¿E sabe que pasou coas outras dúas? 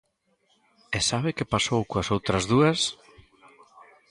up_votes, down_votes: 1, 2